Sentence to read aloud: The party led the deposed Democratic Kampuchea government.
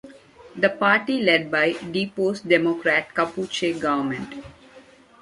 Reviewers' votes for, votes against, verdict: 0, 2, rejected